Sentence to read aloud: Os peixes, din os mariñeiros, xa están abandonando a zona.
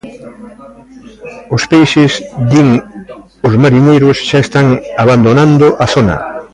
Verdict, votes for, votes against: accepted, 2, 1